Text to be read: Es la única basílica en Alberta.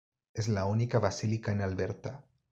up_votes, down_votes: 2, 1